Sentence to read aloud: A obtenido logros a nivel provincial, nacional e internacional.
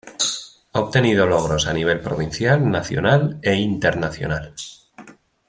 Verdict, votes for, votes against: accepted, 2, 0